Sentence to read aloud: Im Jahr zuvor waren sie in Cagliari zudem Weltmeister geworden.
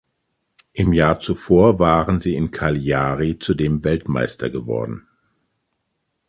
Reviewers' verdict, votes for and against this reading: rejected, 0, 2